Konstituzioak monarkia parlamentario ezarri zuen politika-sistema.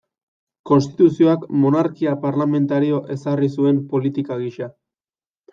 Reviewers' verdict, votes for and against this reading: rejected, 0, 3